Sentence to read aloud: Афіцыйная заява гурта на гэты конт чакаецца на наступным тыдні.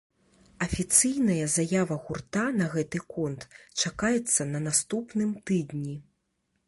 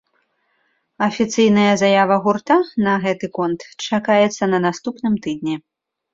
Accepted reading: second